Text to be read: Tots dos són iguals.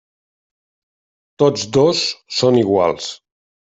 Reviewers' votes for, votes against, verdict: 3, 0, accepted